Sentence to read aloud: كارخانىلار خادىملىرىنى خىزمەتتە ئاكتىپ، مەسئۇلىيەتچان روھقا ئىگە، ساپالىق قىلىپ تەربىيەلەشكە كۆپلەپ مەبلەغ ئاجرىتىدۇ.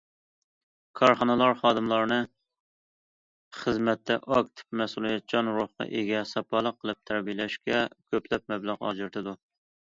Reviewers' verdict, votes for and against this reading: rejected, 0, 2